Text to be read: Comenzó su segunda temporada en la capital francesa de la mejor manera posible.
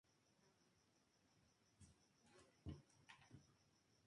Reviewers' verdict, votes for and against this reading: rejected, 0, 2